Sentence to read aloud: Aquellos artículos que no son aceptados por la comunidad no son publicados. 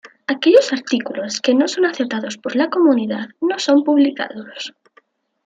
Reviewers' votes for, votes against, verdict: 2, 1, accepted